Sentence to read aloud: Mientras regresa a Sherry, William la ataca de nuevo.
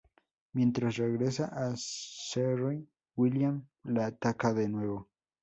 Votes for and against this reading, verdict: 2, 4, rejected